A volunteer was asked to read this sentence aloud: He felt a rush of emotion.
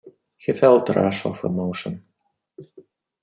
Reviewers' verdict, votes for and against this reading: accepted, 2, 0